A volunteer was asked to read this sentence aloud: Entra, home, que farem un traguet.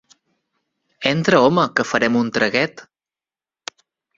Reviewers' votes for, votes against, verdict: 4, 0, accepted